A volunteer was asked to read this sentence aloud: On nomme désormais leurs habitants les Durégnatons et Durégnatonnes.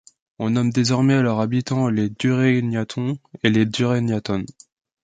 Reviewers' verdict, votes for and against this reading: rejected, 1, 2